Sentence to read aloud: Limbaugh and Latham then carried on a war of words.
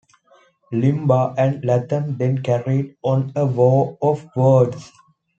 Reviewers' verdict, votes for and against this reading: accepted, 2, 0